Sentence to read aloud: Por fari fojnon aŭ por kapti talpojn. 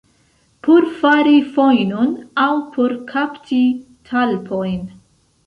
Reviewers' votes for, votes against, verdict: 2, 0, accepted